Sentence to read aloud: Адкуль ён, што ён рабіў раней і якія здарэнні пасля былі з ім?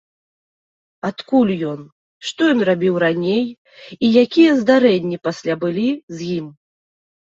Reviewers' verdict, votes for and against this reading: accepted, 2, 0